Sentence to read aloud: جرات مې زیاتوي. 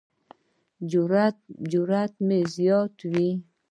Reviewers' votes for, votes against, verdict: 1, 2, rejected